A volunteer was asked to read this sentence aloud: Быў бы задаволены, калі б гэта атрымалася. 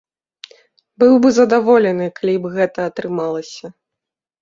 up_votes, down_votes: 2, 0